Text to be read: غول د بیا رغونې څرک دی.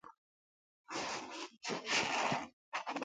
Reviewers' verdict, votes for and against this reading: rejected, 0, 2